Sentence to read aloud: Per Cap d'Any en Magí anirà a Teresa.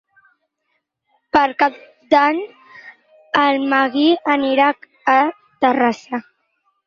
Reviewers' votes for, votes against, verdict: 4, 6, rejected